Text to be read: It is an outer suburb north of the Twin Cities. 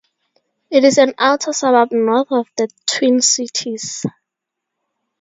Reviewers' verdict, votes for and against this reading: accepted, 2, 0